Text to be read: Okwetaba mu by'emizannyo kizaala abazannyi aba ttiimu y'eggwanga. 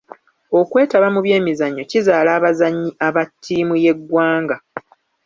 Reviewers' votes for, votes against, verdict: 3, 0, accepted